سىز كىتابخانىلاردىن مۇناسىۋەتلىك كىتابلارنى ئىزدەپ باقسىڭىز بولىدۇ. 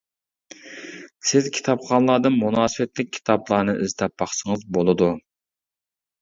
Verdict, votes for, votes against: accepted, 2, 1